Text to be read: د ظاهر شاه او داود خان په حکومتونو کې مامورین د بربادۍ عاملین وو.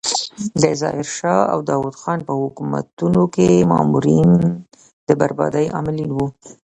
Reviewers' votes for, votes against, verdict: 2, 0, accepted